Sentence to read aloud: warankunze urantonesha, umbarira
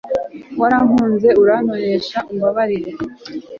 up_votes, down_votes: 2, 1